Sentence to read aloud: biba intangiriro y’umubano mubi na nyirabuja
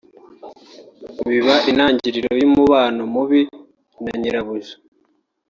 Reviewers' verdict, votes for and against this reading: rejected, 1, 2